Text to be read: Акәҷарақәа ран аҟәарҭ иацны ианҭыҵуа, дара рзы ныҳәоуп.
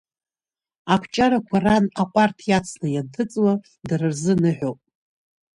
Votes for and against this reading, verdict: 2, 0, accepted